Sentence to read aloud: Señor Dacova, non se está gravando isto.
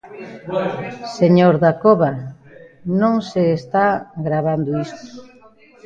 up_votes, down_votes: 1, 2